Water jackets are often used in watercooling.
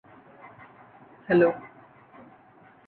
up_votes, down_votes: 0, 2